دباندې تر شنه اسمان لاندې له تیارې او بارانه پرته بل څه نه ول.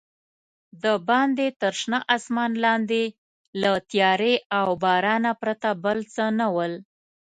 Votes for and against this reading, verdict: 2, 0, accepted